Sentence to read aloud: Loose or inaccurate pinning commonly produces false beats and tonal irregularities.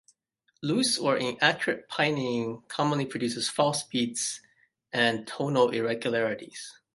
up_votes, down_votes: 1, 2